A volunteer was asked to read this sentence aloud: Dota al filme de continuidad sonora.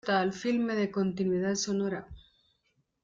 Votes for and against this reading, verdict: 0, 2, rejected